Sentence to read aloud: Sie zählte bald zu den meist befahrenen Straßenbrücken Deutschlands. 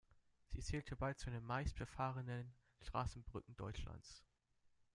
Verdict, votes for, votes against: accepted, 2, 0